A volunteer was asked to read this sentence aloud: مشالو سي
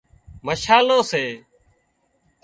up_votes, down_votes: 2, 0